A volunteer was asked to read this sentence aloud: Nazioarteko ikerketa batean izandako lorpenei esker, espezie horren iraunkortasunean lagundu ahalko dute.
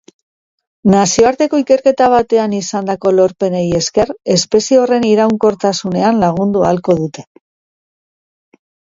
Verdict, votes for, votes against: accepted, 3, 0